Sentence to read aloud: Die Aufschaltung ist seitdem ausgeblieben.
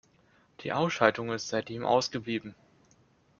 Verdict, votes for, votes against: accepted, 2, 1